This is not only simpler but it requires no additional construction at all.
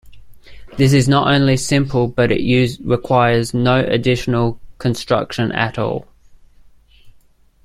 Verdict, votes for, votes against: rejected, 0, 2